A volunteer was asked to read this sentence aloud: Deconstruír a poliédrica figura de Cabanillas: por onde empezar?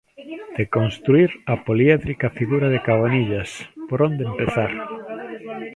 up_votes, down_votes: 1, 2